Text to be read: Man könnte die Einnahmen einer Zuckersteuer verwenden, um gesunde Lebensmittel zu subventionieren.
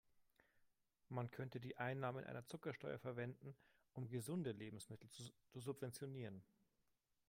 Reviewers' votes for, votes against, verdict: 1, 2, rejected